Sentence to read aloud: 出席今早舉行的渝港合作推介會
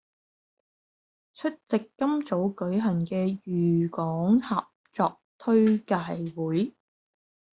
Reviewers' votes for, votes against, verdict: 0, 2, rejected